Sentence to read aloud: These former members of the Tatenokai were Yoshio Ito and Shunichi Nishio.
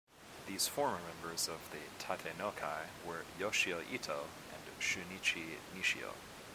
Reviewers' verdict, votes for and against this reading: rejected, 1, 2